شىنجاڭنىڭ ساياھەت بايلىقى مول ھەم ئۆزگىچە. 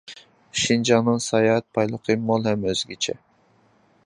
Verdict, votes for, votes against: accepted, 2, 0